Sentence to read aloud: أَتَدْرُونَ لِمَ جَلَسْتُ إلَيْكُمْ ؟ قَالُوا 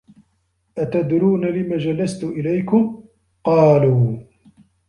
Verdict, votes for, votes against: accepted, 2, 0